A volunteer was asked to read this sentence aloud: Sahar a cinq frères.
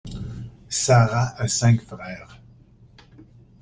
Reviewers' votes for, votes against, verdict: 0, 2, rejected